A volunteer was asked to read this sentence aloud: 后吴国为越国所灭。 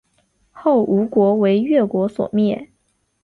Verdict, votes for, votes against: accepted, 7, 1